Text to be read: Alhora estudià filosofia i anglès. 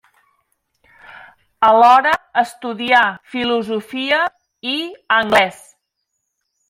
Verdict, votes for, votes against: accepted, 3, 0